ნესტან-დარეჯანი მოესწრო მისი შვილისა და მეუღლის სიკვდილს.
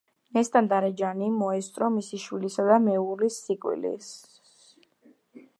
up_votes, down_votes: 2, 0